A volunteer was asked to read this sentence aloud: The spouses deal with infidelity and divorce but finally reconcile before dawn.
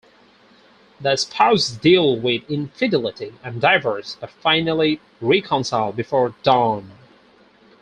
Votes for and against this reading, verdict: 0, 2, rejected